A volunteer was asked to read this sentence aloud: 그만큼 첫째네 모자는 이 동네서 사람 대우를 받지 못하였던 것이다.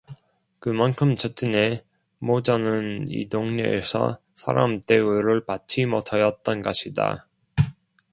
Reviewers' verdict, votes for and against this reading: rejected, 1, 2